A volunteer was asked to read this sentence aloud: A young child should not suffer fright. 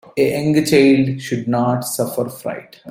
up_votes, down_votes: 0, 2